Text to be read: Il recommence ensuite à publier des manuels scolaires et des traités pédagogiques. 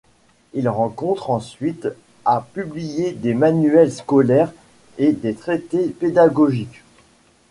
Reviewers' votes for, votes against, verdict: 1, 2, rejected